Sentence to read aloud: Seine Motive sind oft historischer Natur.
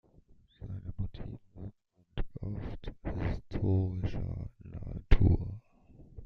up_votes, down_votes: 0, 2